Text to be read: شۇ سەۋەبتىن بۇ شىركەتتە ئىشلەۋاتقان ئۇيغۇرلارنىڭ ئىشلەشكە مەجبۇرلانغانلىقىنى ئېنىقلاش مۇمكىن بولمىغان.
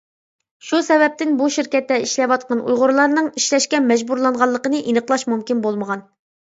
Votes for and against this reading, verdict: 2, 0, accepted